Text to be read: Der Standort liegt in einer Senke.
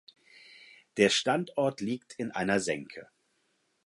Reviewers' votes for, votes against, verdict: 4, 0, accepted